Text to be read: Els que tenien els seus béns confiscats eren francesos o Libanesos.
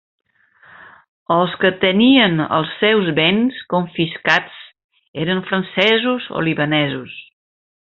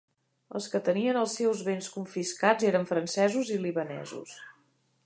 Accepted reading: first